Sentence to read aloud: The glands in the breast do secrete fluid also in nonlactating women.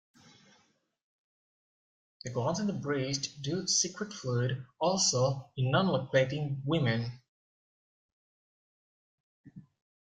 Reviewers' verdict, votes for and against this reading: rejected, 1, 2